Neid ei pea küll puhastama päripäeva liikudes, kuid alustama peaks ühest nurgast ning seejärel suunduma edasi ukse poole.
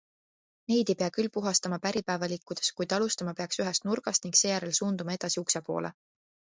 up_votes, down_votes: 2, 0